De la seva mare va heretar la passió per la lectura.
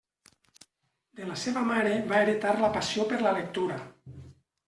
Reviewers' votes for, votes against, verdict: 3, 0, accepted